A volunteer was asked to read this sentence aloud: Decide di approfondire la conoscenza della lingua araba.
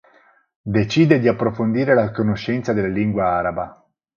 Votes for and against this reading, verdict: 6, 0, accepted